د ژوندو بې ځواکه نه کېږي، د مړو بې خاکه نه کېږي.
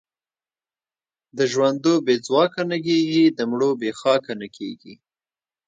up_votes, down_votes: 1, 2